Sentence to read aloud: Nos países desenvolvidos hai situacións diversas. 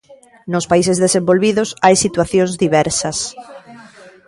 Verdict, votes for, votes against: rejected, 0, 2